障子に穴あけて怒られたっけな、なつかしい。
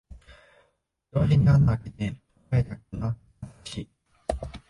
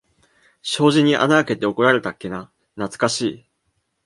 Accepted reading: second